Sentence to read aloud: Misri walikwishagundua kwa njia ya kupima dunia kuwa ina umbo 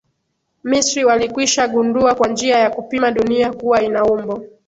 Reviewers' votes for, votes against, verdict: 0, 2, rejected